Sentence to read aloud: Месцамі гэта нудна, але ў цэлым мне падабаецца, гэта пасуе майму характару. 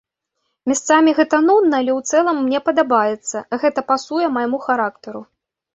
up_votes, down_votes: 1, 2